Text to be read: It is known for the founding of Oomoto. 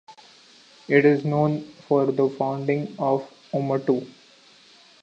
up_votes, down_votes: 2, 0